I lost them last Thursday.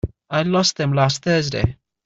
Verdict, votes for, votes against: accepted, 2, 0